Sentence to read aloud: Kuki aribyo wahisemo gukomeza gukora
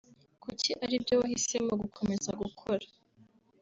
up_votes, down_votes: 2, 0